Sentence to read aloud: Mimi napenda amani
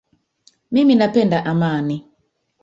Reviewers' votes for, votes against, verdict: 1, 2, rejected